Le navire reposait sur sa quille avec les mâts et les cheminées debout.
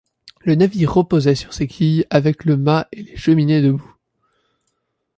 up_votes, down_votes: 0, 2